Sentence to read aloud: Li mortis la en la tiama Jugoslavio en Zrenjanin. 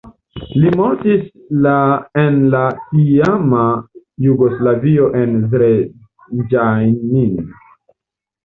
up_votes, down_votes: 1, 2